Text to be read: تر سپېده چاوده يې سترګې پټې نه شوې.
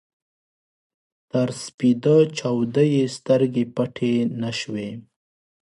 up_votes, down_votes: 2, 0